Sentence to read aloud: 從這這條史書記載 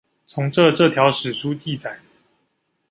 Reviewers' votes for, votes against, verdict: 2, 0, accepted